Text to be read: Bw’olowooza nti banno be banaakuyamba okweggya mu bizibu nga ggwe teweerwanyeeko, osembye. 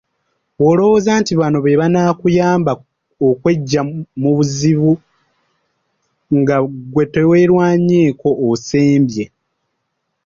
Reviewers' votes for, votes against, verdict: 0, 2, rejected